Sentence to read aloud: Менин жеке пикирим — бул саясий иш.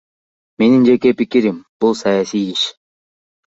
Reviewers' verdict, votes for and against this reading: accepted, 2, 0